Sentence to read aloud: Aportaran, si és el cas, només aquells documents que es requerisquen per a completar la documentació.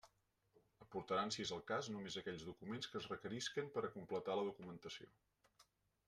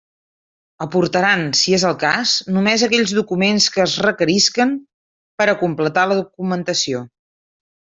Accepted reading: second